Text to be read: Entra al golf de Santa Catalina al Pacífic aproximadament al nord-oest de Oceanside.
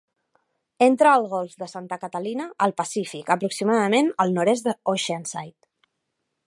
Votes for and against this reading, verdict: 0, 2, rejected